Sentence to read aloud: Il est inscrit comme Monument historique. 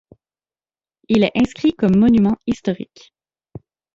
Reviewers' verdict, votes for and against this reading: accepted, 2, 0